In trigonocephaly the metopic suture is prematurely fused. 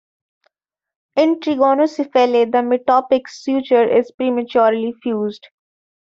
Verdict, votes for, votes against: accepted, 2, 0